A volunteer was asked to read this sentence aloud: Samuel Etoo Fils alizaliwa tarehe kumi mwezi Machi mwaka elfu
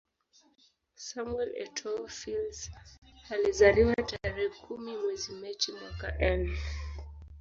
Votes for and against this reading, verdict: 1, 2, rejected